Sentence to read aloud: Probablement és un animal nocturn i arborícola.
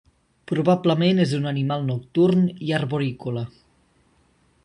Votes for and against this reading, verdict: 3, 0, accepted